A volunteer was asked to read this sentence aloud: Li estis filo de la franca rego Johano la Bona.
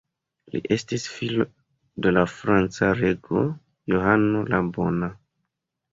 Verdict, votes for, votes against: rejected, 1, 2